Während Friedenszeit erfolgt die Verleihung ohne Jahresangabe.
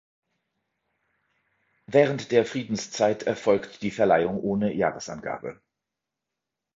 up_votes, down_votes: 2, 3